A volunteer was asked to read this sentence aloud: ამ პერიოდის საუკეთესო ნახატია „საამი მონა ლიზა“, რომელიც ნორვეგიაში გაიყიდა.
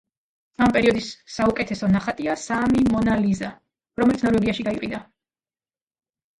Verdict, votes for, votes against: rejected, 1, 2